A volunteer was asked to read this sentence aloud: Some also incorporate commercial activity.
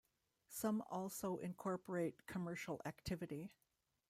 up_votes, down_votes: 2, 0